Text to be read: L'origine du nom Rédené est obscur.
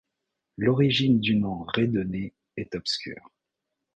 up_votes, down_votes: 2, 0